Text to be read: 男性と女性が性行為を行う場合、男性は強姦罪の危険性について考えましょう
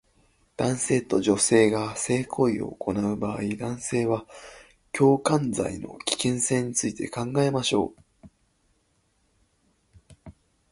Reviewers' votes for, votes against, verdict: 2, 1, accepted